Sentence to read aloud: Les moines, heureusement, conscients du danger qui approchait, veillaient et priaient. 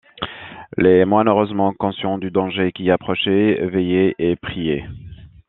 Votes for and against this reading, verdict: 3, 1, accepted